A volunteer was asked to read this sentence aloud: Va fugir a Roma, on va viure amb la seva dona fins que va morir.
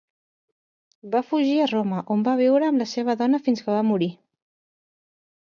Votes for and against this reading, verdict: 2, 0, accepted